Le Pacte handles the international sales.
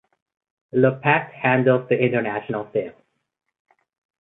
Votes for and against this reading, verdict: 0, 2, rejected